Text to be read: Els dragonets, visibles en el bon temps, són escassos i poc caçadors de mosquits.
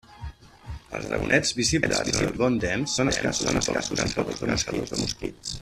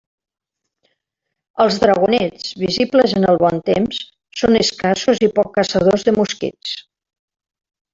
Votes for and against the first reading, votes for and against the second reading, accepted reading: 0, 2, 2, 0, second